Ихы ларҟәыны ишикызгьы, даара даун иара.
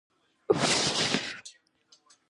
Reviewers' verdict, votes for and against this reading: rejected, 1, 2